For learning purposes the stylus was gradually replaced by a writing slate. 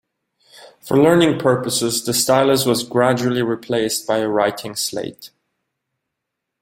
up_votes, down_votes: 2, 1